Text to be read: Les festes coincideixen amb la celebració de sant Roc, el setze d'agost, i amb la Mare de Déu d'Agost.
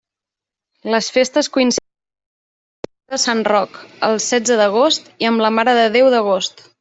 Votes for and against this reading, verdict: 0, 2, rejected